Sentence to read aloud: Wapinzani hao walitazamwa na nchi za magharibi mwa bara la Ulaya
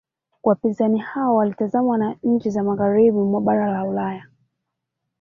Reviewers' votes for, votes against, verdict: 2, 0, accepted